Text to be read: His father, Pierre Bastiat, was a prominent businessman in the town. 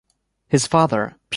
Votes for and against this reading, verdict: 0, 2, rejected